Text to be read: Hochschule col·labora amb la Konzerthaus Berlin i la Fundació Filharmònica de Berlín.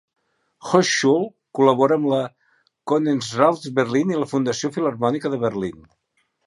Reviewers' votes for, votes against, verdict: 3, 0, accepted